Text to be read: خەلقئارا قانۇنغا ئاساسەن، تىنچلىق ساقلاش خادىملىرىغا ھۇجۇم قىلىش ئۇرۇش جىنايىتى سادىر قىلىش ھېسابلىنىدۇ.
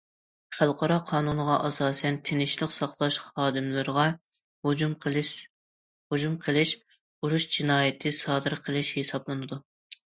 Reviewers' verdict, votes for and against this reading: rejected, 0, 2